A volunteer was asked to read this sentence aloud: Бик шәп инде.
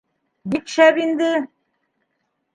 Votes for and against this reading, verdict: 3, 0, accepted